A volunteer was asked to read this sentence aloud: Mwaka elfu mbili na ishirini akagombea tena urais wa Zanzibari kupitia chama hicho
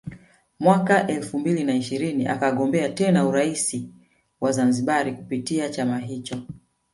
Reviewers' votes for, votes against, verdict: 0, 2, rejected